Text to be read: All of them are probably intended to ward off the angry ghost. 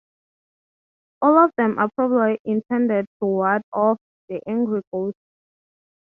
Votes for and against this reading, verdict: 0, 3, rejected